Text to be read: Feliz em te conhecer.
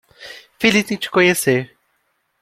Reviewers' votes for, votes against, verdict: 2, 0, accepted